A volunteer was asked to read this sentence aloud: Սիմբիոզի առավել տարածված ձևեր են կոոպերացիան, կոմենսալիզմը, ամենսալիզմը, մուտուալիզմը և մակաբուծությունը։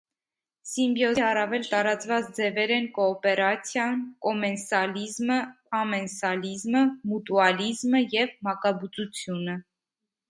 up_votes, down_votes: 1, 2